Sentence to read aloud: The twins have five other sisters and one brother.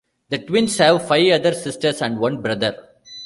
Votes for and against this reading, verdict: 1, 2, rejected